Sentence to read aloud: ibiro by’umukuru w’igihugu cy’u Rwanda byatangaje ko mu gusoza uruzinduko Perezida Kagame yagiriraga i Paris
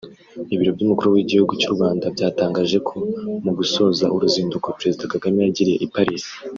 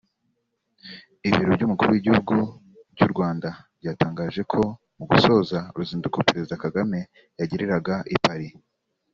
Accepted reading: second